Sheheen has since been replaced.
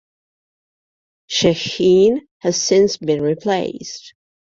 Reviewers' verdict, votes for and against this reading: accepted, 2, 0